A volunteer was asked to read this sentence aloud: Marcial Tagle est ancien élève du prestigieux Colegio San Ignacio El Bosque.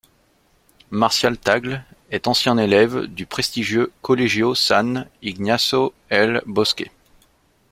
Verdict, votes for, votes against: accepted, 2, 0